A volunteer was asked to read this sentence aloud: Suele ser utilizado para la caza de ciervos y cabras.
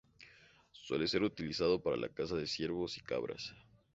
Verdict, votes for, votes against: accepted, 2, 0